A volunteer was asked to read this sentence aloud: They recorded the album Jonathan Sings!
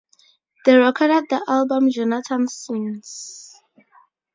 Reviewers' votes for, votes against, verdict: 2, 0, accepted